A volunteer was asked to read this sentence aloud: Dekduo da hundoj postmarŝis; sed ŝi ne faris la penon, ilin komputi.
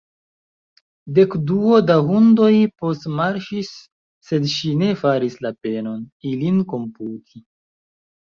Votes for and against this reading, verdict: 0, 2, rejected